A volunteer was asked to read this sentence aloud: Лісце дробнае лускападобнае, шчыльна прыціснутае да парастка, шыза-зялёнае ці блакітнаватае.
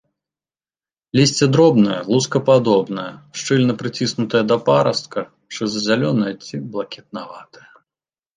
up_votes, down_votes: 2, 0